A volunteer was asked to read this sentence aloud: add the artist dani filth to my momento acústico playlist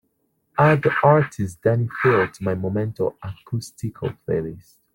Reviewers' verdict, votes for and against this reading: accepted, 3, 2